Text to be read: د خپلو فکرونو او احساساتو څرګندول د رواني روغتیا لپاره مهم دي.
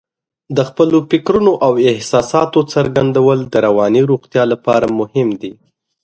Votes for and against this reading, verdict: 2, 0, accepted